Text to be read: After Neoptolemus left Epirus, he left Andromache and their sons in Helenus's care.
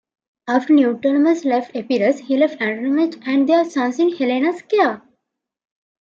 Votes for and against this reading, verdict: 0, 2, rejected